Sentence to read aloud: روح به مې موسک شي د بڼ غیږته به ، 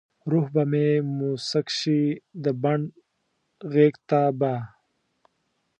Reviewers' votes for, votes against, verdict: 1, 2, rejected